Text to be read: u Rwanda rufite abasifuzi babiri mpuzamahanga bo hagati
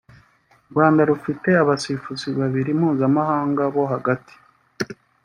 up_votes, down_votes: 0, 3